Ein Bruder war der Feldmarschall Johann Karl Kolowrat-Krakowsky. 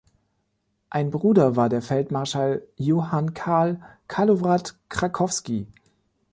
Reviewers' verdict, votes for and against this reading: rejected, 1, 2